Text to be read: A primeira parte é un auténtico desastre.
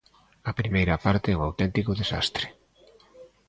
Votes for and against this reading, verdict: 2, 0, accepted